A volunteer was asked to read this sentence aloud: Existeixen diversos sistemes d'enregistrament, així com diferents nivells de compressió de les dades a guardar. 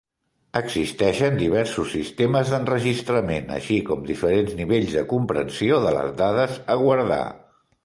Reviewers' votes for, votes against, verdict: 2, 1, accepted